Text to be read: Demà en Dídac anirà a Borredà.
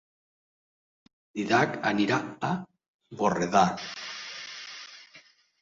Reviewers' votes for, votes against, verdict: 0, 2, rejected